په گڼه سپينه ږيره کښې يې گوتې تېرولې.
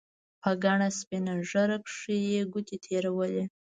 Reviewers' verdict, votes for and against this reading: accepted, 2, 0